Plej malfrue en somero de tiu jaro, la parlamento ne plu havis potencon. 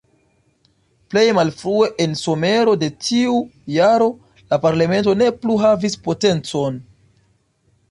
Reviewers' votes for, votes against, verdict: 2, 1, accepted